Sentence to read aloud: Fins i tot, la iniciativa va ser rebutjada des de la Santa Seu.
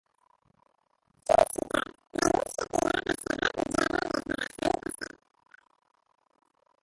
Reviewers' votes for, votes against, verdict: 0, 2, rejected